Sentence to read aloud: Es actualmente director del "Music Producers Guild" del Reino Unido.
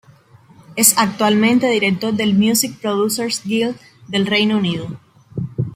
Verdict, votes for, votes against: accepted, 2, 0